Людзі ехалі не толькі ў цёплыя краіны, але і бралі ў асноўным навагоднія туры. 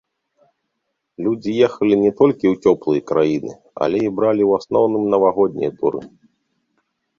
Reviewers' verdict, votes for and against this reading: accepted, 2, 0